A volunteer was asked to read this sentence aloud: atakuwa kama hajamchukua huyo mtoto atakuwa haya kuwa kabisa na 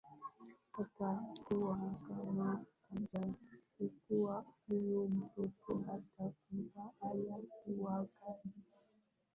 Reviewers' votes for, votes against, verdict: 5, 13, rejected